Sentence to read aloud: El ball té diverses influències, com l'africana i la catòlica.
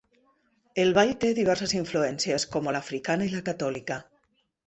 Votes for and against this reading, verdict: 1, 2, rejected